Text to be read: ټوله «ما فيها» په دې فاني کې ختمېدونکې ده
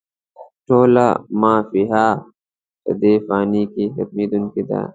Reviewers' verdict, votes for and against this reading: rejected, 1, 2